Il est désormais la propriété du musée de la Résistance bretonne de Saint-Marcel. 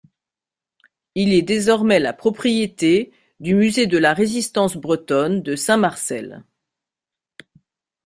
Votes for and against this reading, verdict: 2, 0, accepted